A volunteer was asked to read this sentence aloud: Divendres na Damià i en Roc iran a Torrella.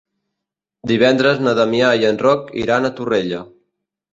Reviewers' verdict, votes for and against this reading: accepted, 2, 0